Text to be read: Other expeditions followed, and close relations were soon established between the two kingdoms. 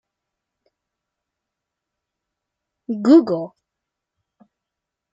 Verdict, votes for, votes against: rejected, 0, 2